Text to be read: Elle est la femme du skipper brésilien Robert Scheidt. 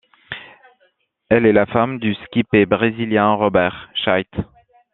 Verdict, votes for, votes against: rejected, 1, 2